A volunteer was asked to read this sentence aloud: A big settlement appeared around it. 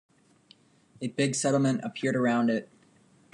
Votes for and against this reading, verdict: 2, 0, accepted